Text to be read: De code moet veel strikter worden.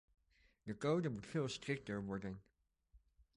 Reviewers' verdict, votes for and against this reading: rejected, 1, 2